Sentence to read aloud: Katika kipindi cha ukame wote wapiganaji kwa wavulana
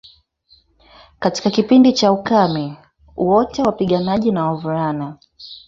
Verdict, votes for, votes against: rejected, 1, 2